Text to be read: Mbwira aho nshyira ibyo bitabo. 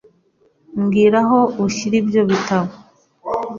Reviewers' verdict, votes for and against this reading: rejected, 0, 2